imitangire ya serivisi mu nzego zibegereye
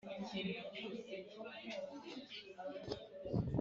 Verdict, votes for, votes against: rejected, 1, 2